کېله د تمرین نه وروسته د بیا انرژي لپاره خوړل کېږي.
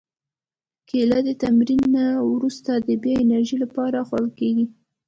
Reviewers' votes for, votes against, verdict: 2, 0, accepted